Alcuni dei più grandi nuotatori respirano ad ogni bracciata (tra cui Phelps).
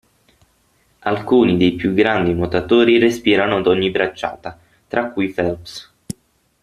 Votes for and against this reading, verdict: 6, 0, accepted